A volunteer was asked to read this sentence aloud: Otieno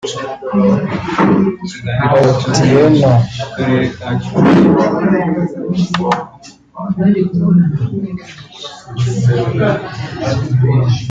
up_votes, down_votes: 0, 3